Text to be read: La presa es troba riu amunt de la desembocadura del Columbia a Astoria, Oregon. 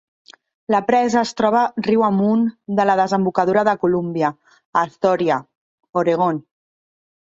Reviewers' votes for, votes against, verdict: 0, 2, rejected